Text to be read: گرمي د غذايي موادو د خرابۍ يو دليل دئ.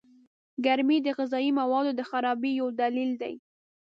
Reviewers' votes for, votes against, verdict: 2, 0, accepted